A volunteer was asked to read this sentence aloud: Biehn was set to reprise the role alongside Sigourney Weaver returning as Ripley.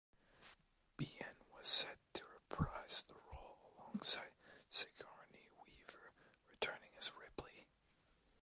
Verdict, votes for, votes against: rejected, 1, 2